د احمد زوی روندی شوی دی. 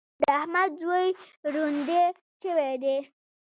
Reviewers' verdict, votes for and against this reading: rejected, 1, 2